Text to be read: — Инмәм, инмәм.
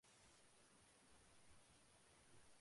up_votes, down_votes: 0, 2